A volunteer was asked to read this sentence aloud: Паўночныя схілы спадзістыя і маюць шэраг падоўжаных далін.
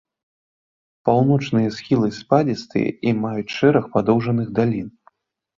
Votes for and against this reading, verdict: 2, 0, accepted